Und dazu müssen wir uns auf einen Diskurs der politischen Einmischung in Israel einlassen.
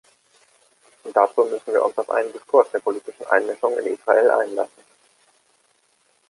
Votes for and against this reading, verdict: 2, 0, accepted